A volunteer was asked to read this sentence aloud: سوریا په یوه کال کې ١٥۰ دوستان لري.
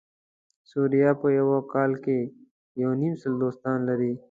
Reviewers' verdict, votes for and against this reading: rejected, 0, 2